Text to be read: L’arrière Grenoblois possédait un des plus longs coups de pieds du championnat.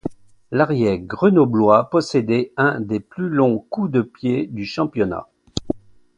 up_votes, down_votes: 1, 2